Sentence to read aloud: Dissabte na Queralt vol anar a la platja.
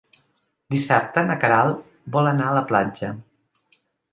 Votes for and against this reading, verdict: 2, 0, accepted